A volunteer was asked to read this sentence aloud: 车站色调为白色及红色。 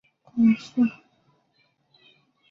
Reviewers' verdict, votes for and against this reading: rejected, 2, 5